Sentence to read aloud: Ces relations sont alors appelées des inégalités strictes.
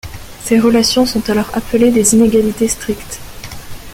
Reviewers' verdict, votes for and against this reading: accepted, 2, 0